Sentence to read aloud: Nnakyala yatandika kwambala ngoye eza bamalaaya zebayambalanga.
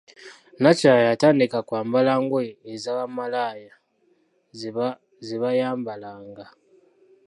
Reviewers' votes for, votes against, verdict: 0, 2, rejected